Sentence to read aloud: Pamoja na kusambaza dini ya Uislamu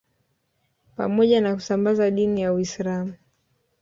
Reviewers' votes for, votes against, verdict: 0, 2, rejected